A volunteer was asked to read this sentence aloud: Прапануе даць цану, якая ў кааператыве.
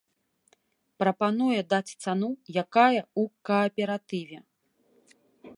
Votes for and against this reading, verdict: 1, 3, rejected